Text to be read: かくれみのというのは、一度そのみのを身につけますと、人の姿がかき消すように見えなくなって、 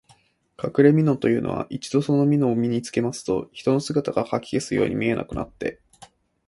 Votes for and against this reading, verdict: 2, 0, accepted